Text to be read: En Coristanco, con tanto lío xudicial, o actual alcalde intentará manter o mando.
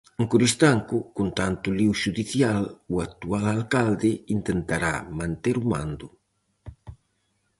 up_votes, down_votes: 2, 2